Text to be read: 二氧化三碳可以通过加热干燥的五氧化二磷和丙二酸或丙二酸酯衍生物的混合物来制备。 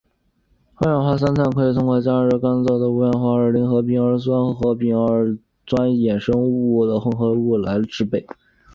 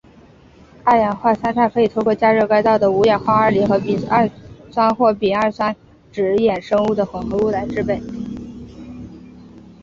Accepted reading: first